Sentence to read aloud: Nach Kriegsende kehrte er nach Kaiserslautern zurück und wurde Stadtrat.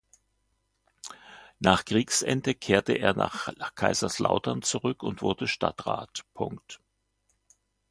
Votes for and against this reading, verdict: 1, 2, rejected